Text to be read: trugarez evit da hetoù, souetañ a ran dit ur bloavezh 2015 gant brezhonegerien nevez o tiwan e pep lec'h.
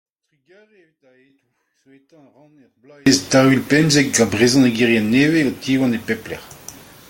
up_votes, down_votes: 0, 2